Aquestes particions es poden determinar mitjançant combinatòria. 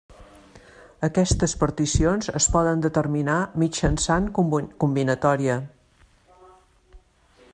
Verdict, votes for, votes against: rejected, 1, 2